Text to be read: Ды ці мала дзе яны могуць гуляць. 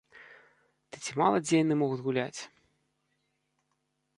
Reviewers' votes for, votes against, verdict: 0, 2, rejected